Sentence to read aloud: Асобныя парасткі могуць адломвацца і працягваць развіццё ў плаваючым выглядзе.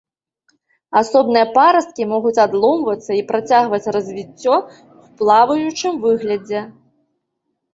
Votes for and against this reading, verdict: 2, 0, accepted